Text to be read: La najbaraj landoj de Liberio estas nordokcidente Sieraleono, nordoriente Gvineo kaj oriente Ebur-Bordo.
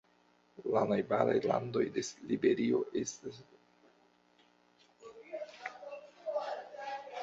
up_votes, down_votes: 0, 2